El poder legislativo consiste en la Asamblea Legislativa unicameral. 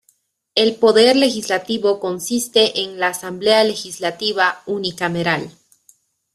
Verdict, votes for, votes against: accepted, 2, 0